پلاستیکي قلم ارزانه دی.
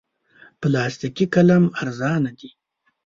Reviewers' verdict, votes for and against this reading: rejected, 1, 2